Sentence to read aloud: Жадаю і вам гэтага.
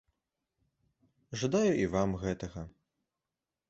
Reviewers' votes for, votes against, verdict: 2, 0, accepted